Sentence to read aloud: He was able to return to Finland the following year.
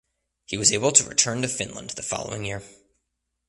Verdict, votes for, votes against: accepted, 2, 0